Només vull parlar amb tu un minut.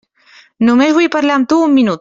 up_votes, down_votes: 3, 0